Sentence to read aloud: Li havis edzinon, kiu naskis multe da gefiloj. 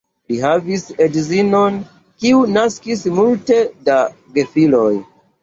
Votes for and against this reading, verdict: 2, 1, accepted